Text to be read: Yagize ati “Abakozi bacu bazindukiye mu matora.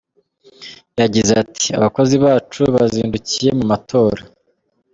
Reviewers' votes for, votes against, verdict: 3, 0, accepted